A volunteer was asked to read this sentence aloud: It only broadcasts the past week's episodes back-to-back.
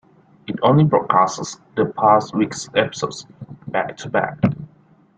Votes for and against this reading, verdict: 1, 2, rejected